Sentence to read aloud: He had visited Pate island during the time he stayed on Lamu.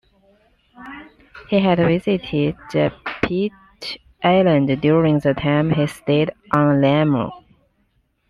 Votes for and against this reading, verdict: 1, 2, rejected